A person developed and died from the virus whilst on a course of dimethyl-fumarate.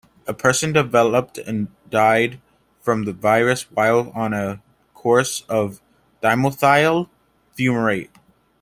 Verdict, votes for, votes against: accepted, 2, 0